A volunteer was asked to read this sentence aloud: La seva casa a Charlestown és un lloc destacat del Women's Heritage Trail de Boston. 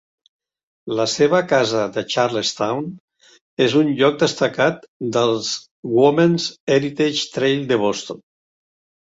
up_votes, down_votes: 0, 3